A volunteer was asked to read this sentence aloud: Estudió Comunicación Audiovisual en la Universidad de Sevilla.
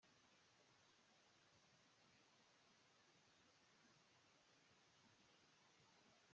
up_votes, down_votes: 0, 2